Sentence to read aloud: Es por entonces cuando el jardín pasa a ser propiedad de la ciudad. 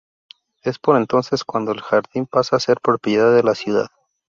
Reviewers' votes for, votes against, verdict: 2, 0, accepted